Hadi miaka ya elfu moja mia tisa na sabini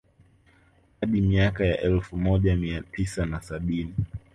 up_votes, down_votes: 2, 0